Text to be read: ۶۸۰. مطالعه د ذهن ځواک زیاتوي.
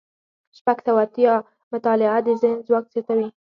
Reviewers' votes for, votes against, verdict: 0, 2, rejected